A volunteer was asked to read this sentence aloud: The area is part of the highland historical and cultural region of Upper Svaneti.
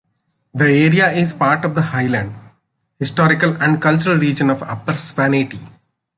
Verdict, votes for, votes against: rejected, 1, 2